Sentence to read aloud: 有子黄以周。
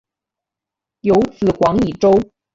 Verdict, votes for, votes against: accepted, 7, 0